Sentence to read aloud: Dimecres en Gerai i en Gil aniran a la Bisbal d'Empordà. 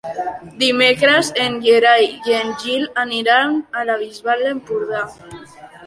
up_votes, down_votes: 2, 0